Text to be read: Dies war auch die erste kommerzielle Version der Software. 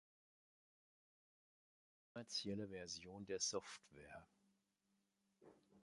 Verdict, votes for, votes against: rejected, 0, 2